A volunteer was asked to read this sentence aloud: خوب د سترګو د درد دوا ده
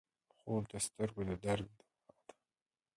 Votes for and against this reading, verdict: 0, 2, rejected